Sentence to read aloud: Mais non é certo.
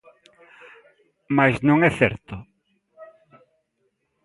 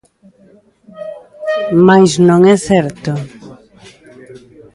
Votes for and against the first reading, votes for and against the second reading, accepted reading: 2, 0, 1, 2, first